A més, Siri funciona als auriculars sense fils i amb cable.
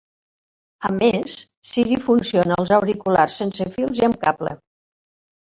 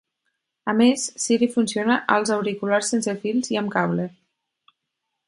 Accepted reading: second